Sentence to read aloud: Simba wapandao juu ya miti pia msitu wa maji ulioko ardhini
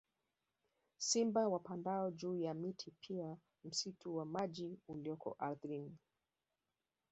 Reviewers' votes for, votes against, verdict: 2, 0, accepted